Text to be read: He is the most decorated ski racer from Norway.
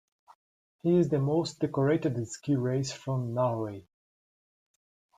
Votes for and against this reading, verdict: 2, 1, accepted